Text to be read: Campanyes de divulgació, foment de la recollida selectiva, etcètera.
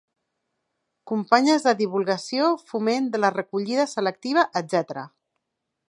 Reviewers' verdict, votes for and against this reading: rejected, 1, 2